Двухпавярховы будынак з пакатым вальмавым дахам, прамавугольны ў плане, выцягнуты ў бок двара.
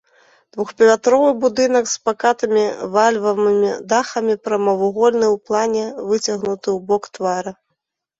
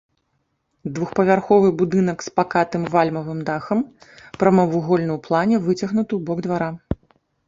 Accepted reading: second